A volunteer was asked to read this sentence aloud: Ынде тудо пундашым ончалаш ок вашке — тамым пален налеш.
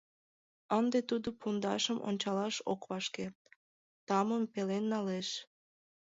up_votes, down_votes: 1, 2